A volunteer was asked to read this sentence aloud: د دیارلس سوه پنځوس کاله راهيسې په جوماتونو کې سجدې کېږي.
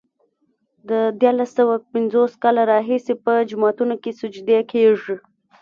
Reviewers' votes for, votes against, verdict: 1, 2, rejected